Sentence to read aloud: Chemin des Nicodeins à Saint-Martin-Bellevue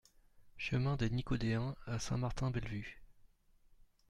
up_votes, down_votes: 2, 0